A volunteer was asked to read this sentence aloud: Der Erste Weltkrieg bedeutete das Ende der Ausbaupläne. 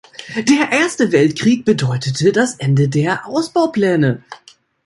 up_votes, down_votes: 2, 0